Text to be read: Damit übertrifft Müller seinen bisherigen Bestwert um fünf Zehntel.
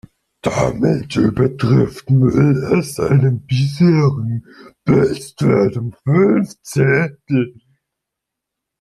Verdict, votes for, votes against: rejected, 2, 3